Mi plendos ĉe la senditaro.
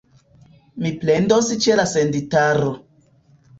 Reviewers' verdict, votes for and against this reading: accepted, 2, 1